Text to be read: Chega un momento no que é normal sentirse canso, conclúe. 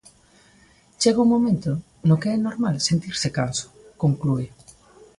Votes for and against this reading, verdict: 2, 0, accepted